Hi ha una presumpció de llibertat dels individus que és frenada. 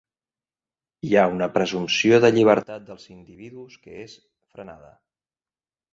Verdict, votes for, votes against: rejected, 1, 2